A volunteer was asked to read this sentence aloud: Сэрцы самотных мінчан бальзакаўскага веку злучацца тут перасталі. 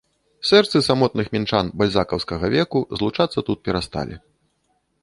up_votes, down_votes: 2, 0